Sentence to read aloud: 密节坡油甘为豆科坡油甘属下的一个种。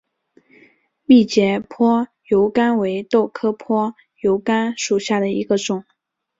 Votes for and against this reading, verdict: 5, 0, accepted